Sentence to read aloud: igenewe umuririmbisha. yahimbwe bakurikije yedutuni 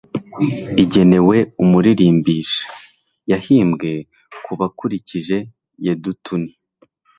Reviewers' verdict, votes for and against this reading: rejected, 0, 2